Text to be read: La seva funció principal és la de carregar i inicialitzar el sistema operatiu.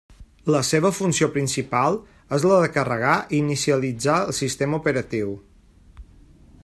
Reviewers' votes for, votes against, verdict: 3, 0, accepted